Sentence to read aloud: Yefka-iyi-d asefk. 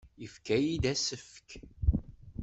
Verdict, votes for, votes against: accepted, 2, 0